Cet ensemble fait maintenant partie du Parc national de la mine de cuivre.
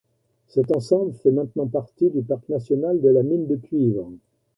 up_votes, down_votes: 2, 0